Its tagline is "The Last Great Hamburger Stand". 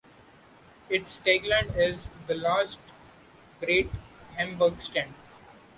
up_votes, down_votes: 1, 2